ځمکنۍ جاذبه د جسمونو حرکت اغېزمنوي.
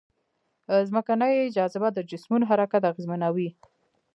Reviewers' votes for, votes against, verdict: 0, 2, rejected